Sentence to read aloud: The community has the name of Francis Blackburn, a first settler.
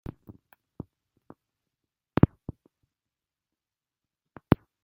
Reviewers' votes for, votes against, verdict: 0, 2, rejected